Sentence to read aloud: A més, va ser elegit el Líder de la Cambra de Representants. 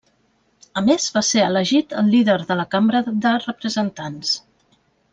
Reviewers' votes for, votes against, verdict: 0, 2, rejected